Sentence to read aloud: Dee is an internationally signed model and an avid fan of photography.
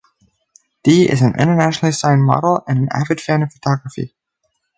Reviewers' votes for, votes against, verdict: 4, 0, accepted